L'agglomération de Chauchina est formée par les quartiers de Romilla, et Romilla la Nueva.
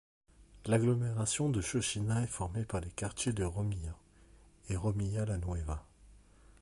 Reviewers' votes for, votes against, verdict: 2, 0, accepted